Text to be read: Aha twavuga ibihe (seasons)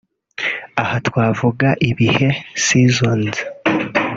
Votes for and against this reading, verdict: 3, 0, accepted